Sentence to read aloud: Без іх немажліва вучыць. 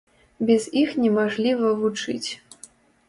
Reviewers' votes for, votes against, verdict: 0, 2, rejected